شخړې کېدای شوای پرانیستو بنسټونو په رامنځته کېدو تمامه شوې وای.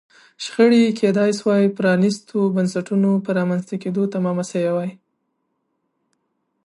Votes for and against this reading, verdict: 2, 0, accepted